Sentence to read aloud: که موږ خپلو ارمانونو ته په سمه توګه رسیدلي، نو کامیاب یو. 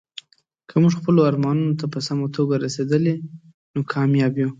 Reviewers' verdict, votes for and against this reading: accepted, 2, 0